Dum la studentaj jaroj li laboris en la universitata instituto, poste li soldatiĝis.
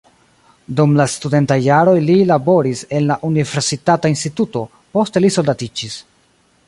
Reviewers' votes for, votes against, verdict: 2, 0, accepted